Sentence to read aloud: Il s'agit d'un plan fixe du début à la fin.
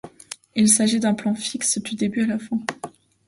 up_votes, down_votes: 2, 0